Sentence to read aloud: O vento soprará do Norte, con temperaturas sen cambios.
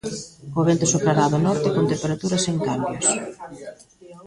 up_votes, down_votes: 0, 2